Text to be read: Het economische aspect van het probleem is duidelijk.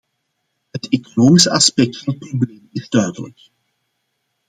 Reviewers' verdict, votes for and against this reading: rejected, 1, 2